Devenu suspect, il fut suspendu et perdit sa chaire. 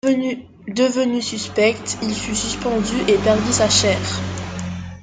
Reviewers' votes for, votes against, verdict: 1, 2, rejected